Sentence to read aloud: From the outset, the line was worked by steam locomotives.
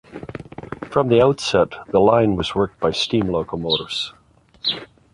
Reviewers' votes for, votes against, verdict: 2, 0, accepted